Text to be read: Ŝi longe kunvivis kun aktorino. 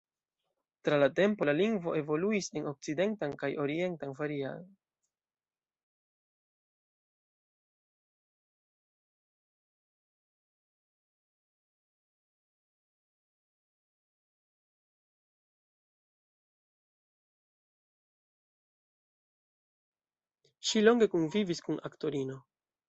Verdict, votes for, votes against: rejected, 0, 2